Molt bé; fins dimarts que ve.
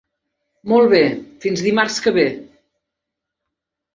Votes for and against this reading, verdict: 3, 0, accepted